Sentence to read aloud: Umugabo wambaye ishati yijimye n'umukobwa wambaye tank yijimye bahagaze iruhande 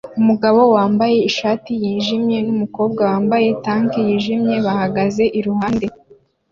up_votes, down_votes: 2, 0